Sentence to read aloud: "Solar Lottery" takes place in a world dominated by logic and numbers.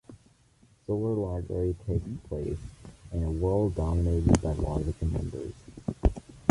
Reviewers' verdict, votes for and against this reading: accepted, 2, 1